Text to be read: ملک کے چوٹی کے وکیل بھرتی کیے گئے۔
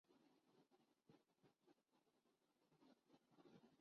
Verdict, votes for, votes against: rejected, 0, 5